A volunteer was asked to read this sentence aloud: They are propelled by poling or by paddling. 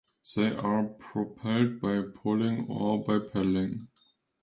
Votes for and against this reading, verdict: 2, 0, accepted